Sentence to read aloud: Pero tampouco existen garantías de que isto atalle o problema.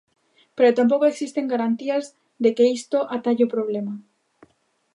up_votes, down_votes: 2, 0